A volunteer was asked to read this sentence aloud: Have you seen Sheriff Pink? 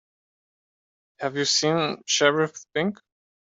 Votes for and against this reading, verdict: 2, 0, accepted